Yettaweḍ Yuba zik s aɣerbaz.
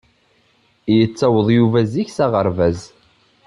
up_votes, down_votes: 2, 0